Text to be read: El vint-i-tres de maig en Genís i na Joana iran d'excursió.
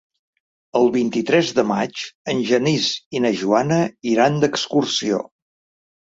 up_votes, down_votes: 2, 0